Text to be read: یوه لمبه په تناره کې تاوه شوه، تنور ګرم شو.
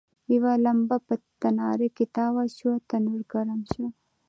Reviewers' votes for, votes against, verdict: 2, 0, accepted